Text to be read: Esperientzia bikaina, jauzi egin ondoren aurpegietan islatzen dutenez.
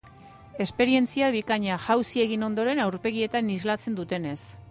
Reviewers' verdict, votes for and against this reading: accepted, 2, 0